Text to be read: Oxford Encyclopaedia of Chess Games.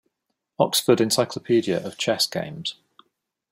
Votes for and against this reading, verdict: 2, 0, accepted